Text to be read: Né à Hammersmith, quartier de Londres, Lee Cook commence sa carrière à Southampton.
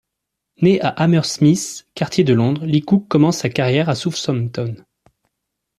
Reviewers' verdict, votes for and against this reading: accepted, 2, 1